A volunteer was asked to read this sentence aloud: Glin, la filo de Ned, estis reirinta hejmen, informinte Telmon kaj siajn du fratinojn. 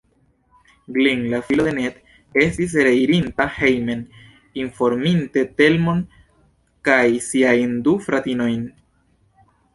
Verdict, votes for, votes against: accepted, 2, 0